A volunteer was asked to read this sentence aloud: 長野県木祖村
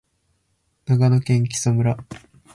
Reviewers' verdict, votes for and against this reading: accepted, 6, 0